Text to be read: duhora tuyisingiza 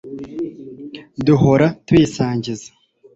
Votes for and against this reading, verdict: 1, 2, rejected